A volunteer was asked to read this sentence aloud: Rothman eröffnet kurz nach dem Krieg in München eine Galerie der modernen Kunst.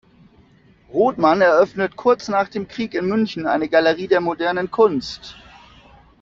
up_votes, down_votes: 2, 0